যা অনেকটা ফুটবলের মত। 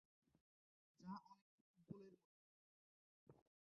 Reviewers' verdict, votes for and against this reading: rejected, 1, 2